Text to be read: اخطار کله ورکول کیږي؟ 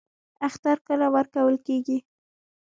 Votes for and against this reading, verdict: 1, 2, rejected